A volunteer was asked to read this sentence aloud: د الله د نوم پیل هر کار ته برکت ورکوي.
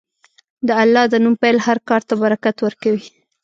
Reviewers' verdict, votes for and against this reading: accepted, 2, 0